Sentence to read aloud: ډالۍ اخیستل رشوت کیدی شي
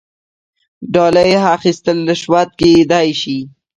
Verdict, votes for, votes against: rejected, 0, 2